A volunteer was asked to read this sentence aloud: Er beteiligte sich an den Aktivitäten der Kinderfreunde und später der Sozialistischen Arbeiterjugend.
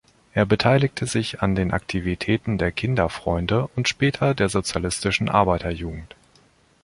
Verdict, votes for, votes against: accepted, 2, 0